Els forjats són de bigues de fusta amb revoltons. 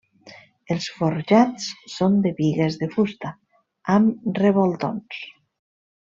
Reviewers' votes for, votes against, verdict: 3, 0, accepted